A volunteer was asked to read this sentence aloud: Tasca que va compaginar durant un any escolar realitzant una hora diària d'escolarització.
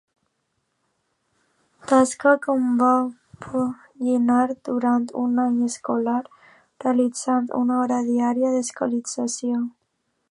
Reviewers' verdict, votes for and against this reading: rejected, 0, 2